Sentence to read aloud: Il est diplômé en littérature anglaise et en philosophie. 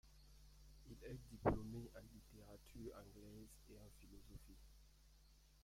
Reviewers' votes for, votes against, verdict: 1, 2, rejected